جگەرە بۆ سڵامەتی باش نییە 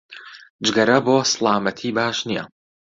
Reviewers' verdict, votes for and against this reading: accepted, 2, 0